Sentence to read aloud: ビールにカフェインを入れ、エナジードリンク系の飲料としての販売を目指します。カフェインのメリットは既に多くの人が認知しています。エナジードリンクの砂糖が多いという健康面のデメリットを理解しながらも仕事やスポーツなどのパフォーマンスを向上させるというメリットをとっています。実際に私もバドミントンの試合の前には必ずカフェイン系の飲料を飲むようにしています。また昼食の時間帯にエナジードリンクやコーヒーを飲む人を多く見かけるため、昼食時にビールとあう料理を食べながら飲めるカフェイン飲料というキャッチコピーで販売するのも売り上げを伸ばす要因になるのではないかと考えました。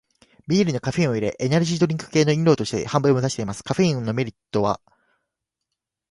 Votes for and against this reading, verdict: 0, 3, rejected